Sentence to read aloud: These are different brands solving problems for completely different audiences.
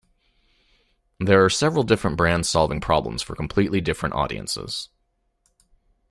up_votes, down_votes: 0, 2